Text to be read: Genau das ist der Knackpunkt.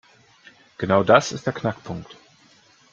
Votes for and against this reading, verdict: 2, 0, accepted